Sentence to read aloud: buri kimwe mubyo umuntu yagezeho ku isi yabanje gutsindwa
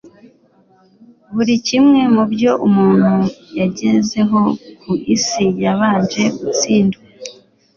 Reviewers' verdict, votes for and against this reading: accepted, 2, 0